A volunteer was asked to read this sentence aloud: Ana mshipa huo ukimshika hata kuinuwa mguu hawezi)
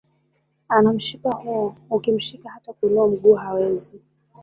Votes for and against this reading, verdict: 1, 2, rejected